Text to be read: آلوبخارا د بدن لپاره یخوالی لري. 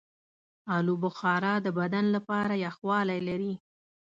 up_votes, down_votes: 2, 0